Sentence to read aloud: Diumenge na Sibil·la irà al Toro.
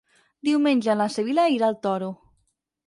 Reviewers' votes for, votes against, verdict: 6, 0, accepted